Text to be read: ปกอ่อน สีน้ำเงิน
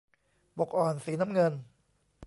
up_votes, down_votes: 1, 2